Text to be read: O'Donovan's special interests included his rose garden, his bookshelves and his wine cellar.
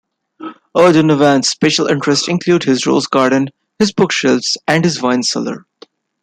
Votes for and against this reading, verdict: 2, 0, accepted